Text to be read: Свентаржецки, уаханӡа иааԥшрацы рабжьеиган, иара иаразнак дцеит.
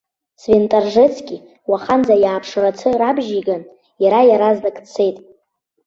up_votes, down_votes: 3, 0